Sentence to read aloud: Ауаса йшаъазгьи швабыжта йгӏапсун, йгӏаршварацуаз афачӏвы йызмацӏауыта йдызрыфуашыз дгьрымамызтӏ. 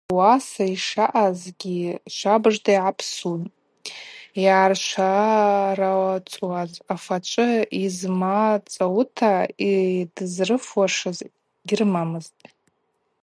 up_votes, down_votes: 0, 2